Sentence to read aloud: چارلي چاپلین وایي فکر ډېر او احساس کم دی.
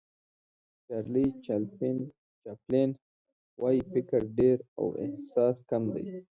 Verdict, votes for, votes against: rejected, 0, 2